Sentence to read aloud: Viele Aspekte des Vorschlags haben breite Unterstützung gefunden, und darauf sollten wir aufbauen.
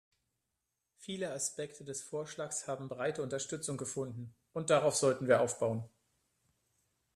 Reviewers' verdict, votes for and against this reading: rejected, 1, 2